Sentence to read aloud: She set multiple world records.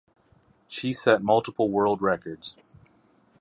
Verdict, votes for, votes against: rejected, 0, 2